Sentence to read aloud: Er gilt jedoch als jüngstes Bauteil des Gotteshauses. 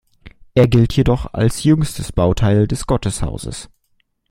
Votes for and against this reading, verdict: 2, 0, accepted